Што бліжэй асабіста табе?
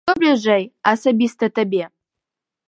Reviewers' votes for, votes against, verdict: 1, 2, rejected